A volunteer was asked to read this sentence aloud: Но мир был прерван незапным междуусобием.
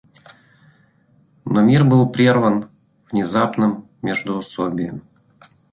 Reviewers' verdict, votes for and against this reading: rejected, 0, 2